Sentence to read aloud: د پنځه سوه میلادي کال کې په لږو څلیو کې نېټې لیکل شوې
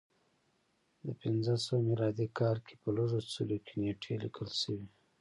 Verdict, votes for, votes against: rejected, 1, 2